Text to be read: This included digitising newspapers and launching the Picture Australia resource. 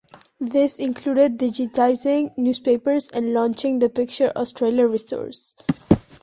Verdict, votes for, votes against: accepted, 2, 0